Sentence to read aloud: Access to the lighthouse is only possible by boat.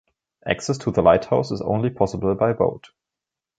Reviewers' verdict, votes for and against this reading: accepted, 2, 0